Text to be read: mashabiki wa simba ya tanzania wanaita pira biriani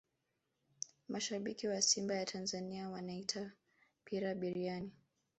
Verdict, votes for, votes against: rejected, 0, 2